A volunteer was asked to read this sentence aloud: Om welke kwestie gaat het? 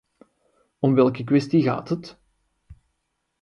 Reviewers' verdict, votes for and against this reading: accepted, 2, 0